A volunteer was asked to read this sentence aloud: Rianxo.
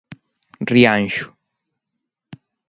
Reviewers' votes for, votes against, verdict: 2, 0, accepted